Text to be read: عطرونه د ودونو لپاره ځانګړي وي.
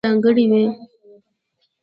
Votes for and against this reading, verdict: 0, 2, rejected